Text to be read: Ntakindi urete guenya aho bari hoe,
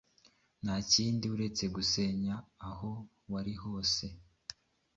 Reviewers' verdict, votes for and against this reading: rejected, 0, 2